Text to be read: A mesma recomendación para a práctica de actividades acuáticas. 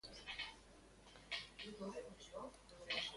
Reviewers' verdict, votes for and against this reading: rejected, 0, 2